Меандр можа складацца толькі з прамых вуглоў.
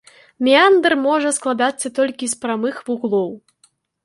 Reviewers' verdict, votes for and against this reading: accepted, 2, 0